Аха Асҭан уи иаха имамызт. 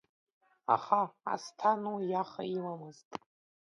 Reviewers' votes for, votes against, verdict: 1, 2, rejected